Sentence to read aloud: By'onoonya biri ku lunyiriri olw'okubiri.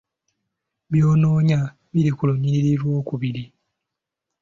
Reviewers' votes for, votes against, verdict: 2, 0, accepted